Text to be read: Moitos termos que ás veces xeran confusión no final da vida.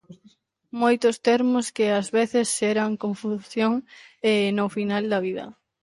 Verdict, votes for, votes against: rejected, 0, 2